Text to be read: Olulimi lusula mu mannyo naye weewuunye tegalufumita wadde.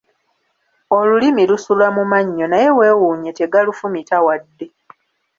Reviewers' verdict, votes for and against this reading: accepted, 2, 0